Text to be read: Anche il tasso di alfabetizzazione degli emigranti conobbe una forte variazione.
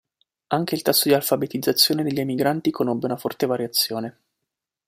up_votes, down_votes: 2, 0